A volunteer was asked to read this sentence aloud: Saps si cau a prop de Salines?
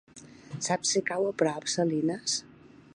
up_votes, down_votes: 1, 2